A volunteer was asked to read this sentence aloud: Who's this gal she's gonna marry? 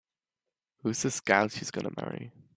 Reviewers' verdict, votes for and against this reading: accepted, 2, 0